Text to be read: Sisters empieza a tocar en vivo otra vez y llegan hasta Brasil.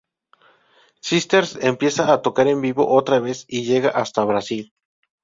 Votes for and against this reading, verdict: 2, 4, rejected